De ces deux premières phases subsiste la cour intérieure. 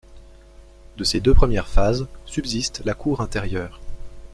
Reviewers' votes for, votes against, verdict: 2, 0, accepted